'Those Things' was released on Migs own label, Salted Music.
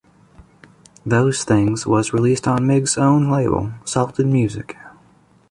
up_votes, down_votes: 2, 1